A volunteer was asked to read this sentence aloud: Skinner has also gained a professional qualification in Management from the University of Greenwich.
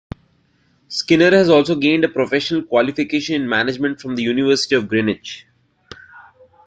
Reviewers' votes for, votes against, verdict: 2, 1, accepted